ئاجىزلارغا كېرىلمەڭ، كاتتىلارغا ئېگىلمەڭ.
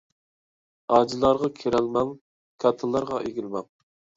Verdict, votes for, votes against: rejected, 0, 2